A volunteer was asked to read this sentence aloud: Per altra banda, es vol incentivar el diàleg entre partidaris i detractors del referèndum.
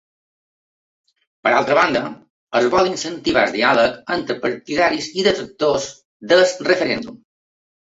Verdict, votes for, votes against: rejected, 0, 2